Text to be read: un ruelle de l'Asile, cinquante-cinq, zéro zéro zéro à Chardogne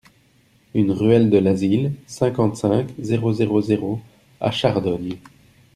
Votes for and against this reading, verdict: 1, 2, rejected